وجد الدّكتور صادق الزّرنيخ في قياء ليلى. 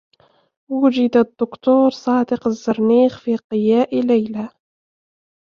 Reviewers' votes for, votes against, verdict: 1, 2, rejected